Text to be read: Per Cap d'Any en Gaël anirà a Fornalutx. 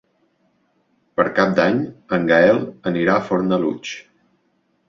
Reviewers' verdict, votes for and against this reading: accepted, 2, 0